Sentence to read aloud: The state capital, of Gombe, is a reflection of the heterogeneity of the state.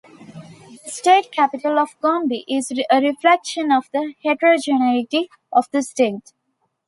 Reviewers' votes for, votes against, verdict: 0, 2, rejected